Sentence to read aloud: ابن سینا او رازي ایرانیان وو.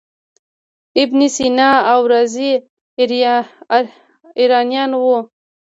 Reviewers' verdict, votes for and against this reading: rejected, 1, 2